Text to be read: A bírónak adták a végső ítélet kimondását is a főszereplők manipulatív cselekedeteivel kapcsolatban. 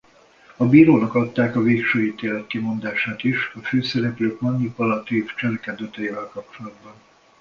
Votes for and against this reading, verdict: 0, 2, rejected